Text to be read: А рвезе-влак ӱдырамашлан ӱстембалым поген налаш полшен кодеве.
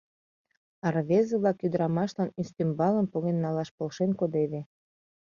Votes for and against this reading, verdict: 2, 0, accepted